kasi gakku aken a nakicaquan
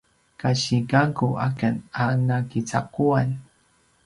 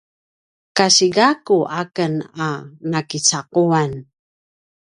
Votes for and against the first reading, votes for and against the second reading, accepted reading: 2, 0, 0, 2, first